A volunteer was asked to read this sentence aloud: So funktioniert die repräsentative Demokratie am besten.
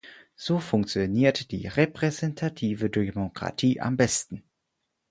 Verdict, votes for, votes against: accepted, 4, 0